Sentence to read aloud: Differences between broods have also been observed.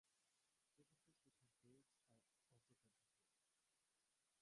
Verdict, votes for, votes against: rejected, 0, 2